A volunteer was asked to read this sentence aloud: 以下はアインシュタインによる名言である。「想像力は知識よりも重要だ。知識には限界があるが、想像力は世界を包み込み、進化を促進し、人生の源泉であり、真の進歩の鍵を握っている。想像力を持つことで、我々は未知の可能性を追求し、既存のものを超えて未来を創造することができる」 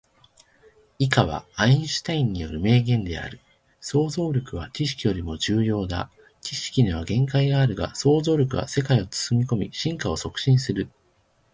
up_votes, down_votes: 2, 1